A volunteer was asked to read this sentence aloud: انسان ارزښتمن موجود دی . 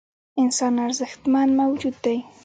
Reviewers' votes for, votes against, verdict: 0, 2, rejected